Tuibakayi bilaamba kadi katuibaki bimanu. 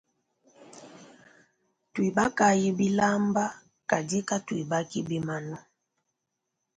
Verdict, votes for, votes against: accepted, 3, 0